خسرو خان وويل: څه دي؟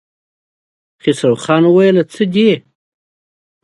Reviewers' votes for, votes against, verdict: 2, 0, accepted